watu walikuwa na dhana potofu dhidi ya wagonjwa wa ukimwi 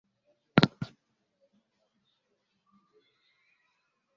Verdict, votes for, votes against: rejected, 0, 3